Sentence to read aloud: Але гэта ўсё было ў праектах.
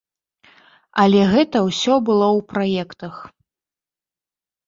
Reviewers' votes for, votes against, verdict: 2, 0, accepted